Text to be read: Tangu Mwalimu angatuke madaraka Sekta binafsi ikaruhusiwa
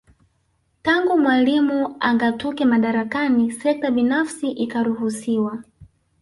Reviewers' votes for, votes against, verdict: 0, 2, rejected